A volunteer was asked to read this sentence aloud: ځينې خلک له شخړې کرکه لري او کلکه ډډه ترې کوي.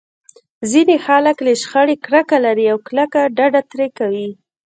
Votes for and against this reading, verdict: 1, 2, rejected